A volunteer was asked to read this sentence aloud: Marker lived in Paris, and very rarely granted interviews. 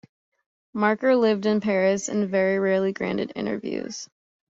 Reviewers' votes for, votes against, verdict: 2, 0, accepted